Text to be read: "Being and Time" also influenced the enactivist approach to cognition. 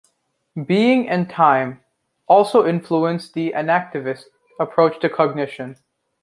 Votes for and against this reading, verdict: 3, 0, accepted